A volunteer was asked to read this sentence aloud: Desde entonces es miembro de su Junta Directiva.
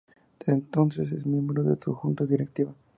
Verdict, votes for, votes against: rejected, 0, 2